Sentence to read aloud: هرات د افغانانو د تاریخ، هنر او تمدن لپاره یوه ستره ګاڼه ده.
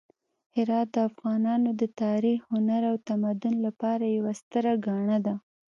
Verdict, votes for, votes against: accepted, 2, 0